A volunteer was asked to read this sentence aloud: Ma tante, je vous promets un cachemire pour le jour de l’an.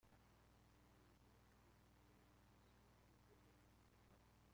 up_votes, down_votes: 0, 2